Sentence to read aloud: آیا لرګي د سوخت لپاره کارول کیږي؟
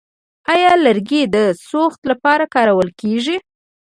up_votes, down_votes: 1, 2